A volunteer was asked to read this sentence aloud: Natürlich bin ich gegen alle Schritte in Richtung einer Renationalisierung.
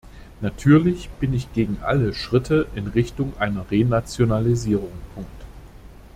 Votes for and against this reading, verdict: 0, 2, rejected